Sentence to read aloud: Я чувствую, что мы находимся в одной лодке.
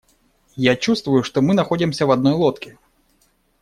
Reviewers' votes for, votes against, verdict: 2, 0, accepted